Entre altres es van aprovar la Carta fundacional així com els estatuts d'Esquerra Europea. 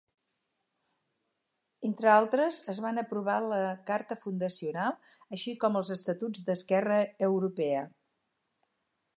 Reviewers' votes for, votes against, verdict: 4, 0, accepted